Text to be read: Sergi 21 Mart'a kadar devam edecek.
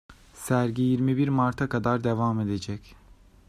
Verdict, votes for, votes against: rejected, 0, 2